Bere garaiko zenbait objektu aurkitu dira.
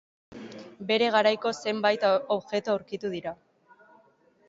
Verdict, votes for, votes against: rejected, 1, 2